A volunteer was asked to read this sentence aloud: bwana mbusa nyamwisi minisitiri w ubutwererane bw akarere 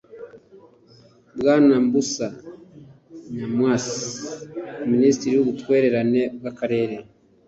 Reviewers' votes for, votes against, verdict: 3, 0, accepted